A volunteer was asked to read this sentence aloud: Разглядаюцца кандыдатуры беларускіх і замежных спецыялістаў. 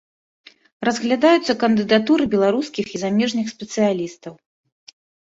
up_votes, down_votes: 2, 0